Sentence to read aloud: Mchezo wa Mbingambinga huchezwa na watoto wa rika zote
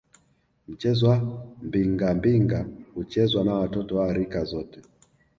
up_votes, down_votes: 2, 0